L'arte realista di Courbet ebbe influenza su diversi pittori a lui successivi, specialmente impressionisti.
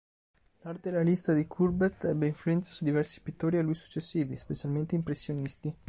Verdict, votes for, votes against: rejected, 0, 2